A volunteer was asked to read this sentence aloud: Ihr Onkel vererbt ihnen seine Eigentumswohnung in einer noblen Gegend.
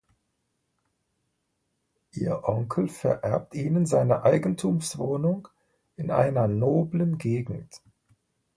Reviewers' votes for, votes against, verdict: 2, 0, accepted